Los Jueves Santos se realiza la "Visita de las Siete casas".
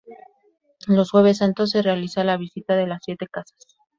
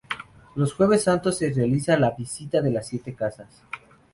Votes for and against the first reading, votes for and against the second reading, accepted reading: 2, 0, 0, 2, first